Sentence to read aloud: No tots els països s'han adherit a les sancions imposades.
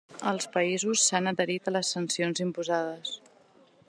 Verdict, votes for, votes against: rejected, 1, 2